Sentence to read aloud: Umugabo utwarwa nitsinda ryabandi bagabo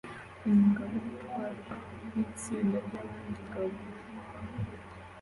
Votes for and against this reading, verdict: 2, 1, accepted